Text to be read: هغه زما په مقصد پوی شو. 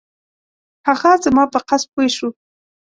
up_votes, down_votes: 1, 2